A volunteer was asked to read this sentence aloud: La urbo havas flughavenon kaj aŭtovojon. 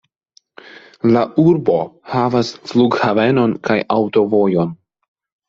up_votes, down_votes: 2, 0